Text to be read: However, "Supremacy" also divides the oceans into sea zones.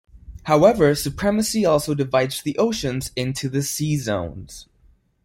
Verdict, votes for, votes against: rejected, 0, 2